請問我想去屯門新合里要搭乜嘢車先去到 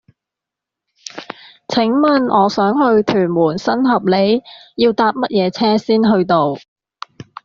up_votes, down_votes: 2, 1